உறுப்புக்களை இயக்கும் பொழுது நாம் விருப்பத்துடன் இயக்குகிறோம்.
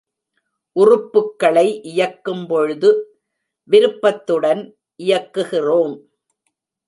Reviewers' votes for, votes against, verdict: 0, 2, rejected